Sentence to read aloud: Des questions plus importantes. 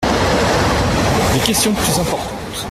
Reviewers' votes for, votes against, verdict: 0, 2, rejected